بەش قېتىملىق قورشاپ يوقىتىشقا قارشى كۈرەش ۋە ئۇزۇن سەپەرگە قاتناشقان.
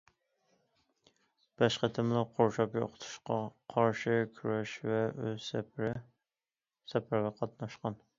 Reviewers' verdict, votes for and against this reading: rejected, 0, 2